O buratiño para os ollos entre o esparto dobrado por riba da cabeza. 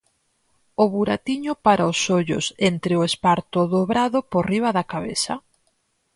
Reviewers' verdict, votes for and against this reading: accepted, 4, 0